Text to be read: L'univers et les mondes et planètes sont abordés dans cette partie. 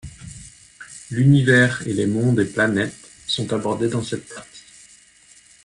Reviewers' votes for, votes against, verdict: 1, 2, rejected